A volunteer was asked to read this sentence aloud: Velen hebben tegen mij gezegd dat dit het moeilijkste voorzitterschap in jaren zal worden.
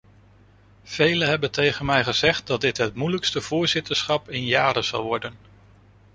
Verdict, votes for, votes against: accepted, 2, 0